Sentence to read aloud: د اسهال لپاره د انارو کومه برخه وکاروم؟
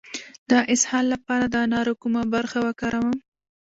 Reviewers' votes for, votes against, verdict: 0, 2, rejected